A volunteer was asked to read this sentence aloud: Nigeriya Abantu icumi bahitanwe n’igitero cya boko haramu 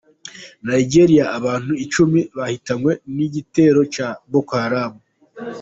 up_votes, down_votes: 2, 0